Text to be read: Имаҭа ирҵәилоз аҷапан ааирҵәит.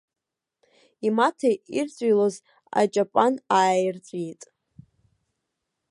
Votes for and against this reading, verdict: 0, 2, rejected